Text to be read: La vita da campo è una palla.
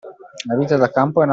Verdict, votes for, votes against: rejected, 0, 2